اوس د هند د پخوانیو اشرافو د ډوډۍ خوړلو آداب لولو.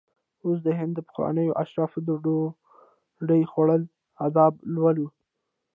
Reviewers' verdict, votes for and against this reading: rejected, 0, 2